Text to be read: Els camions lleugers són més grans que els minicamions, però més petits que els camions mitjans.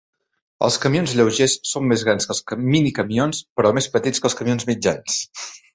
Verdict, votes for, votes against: rejected, 0, 2